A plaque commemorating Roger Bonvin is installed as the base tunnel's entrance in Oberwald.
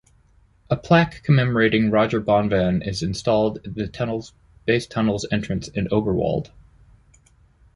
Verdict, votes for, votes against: rejected, 0, 2